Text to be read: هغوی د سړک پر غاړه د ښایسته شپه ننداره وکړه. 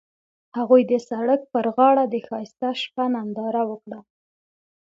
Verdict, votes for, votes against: accepted, 2, 0